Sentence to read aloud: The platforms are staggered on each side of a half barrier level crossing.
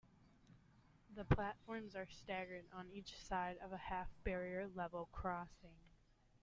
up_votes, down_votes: 2, 0